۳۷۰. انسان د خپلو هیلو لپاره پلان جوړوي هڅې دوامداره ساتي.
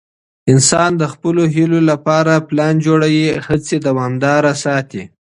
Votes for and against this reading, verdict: 0, 2, rejected